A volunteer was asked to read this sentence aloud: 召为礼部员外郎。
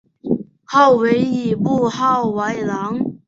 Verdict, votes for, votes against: rejected, 2, 3